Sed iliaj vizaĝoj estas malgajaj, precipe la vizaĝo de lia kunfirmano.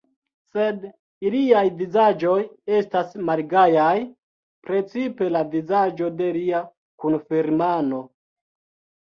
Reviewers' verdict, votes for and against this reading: accepted, 2, 0